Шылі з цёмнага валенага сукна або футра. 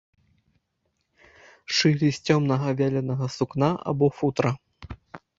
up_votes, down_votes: 0, 2